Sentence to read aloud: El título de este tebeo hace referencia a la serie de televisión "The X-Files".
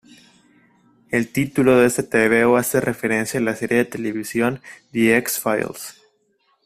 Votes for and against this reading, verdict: 2, 0, accepted